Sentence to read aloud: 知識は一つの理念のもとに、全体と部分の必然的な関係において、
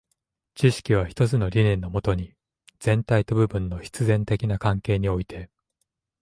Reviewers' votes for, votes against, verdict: 2, 0, accepted